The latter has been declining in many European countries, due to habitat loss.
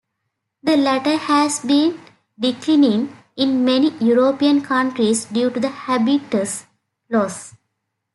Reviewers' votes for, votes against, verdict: 0, 2, rejected